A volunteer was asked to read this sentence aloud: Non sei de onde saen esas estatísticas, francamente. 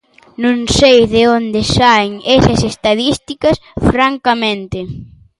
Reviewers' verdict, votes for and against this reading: rejected, 0, 2